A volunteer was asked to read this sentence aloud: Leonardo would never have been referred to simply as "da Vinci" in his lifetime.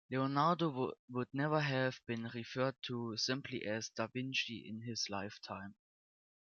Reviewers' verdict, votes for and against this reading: rejected, 0, 2